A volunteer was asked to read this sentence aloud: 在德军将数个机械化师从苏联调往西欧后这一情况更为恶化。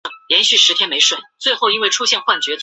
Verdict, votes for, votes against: rejected, 0, 2